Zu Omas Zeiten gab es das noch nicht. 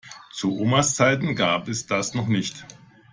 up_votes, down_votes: 2, 0